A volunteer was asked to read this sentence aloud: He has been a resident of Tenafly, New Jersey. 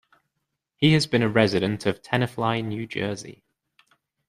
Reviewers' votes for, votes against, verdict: 2, 0, accepted